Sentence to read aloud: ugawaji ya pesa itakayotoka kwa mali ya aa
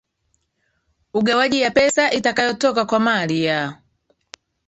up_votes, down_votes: 2, 3